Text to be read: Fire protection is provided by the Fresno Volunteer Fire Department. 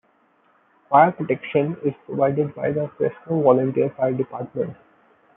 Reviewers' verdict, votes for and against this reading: accepted, 2, 1